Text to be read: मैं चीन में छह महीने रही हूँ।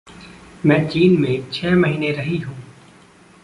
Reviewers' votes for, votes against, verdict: 0, 2, rejected